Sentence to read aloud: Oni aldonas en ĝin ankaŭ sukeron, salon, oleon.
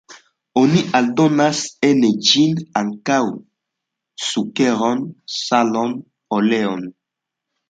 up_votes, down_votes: 2, 0